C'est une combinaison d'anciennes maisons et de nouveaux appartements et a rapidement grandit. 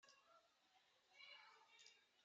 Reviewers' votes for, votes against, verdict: 0, 2, rejected